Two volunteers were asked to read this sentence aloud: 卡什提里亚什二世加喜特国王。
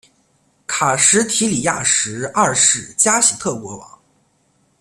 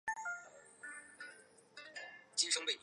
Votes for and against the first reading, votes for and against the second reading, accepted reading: 2, 0, 0, 3, first